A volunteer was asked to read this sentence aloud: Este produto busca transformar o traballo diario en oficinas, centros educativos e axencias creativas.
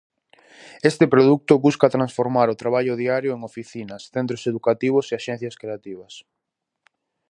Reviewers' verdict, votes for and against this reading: rejected, 2, 2